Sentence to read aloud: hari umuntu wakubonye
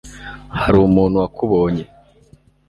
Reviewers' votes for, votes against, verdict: 2, 0, accepted